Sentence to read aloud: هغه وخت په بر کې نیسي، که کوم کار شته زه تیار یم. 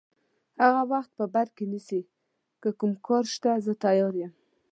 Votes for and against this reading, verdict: 2, 0, accepted